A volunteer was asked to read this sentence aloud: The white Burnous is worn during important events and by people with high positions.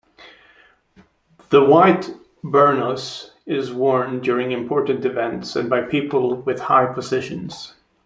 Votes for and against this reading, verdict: 2, 0, accepted